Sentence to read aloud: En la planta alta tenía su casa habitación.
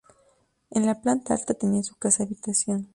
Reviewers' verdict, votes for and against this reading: rejected, 0, 2